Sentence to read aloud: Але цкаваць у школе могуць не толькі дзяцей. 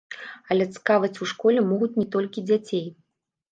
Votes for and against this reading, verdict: 1, 2, rejected